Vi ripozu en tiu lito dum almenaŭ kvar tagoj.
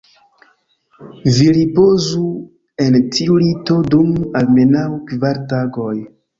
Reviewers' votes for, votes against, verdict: 2, 1, accepted